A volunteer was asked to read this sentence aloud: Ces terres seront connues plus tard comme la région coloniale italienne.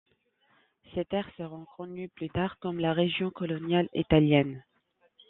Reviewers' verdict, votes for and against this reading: rejected, 0, 2